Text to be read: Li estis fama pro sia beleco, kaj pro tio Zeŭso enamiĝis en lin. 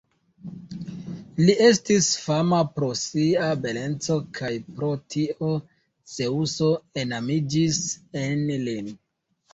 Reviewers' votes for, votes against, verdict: 1, 2, rejected